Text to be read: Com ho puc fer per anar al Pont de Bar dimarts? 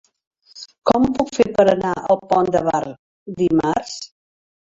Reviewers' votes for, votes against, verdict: 3, 0, accepted